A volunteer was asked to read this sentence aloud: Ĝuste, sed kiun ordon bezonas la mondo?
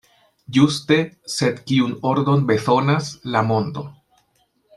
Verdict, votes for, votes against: rejected, 1, 2